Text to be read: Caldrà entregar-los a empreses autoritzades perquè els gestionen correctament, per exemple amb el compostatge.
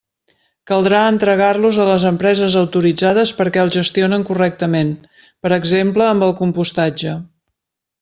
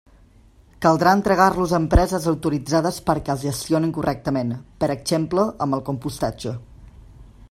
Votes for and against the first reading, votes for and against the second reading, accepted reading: 0, 2, 2, 0, second